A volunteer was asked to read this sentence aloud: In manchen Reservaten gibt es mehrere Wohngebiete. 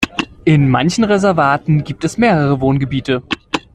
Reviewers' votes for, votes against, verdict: 2, 1, accepted